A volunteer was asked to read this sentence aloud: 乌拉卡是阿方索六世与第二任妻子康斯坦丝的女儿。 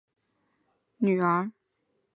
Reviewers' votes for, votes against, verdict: 0, 6, rejected